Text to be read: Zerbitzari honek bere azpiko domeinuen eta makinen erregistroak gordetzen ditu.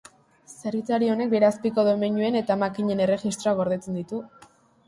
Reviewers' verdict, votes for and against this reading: accepted, 2, 0